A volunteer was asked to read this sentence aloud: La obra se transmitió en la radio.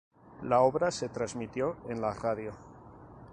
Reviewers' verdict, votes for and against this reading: accepted, 4, 0